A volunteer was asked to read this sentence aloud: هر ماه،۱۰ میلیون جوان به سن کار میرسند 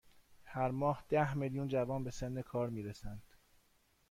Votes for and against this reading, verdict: 0, 2, rejected